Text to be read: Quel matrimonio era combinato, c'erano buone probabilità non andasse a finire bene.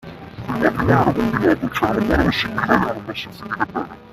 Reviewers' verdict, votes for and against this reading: rejected, 0, 2